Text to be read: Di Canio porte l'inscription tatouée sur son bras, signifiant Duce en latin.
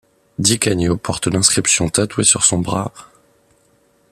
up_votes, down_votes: 1, 2